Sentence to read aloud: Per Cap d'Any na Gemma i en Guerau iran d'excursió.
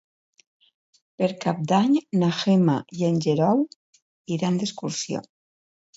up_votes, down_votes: 1, 2